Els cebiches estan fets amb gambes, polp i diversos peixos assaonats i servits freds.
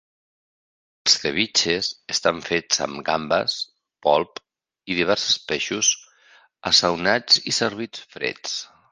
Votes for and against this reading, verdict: 1, 2, rejected